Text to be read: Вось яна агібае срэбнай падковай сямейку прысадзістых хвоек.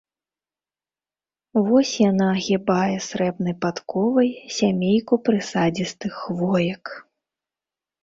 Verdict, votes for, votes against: accepted, 4, 0